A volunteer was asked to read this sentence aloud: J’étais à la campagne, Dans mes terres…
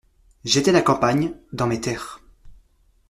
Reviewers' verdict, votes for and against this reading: rejected, 1, 2